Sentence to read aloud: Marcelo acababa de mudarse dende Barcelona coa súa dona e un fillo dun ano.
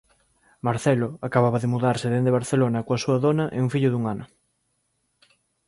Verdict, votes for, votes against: accepted, 2, 0